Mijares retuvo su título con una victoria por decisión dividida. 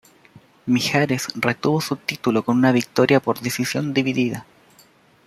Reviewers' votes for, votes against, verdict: 2, 0, accepted